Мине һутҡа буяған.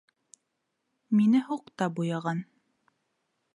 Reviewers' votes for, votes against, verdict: 1, 2, rejected